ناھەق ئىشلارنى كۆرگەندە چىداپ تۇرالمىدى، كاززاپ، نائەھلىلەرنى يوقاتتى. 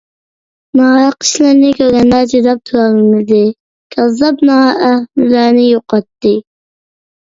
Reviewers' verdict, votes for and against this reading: rejected, 1, 2